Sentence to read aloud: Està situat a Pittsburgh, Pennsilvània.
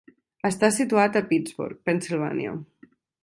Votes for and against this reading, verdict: 2, 0, accepted